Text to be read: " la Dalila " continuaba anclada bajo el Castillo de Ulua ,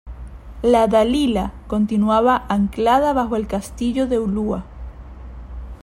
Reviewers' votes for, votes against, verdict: 3, 0, accepted